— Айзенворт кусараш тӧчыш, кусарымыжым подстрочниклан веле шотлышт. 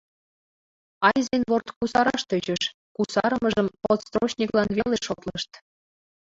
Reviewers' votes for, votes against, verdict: 1, 2, rejected